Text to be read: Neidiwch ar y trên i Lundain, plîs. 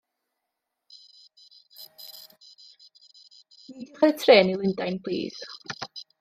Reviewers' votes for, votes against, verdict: 0, 2, rejected